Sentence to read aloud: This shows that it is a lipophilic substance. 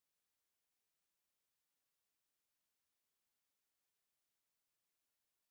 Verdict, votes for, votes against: rejected, 0, 2